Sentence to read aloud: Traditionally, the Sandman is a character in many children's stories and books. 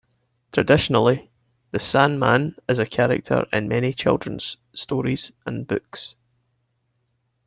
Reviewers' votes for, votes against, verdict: 3, 2, accepted